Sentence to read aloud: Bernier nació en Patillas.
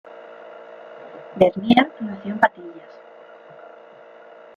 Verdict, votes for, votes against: rejected, 0, 2